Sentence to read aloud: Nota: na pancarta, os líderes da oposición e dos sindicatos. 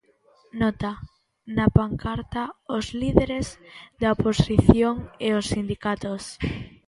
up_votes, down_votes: 0, 3